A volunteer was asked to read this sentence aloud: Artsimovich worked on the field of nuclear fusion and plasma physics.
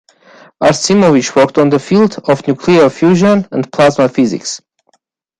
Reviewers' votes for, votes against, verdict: 2, 1, accepted